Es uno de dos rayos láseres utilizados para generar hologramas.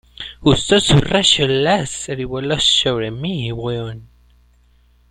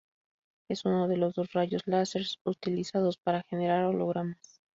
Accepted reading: second